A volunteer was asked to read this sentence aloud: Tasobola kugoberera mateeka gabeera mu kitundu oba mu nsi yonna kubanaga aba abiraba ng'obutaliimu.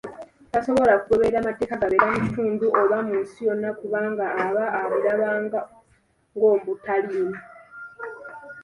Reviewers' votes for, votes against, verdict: 2, 0, accepted